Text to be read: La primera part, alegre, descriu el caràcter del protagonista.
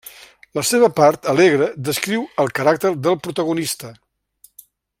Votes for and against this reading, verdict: 0, 2, rejected